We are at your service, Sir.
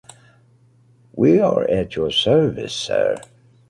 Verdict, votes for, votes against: accepted, 2, 0